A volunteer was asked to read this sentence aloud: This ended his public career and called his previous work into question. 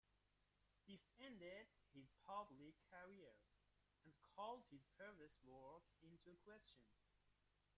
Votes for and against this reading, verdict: 0, 2, rejected